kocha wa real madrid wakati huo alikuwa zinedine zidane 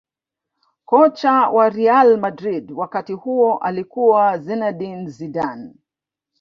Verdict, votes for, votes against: rejected, 1, 2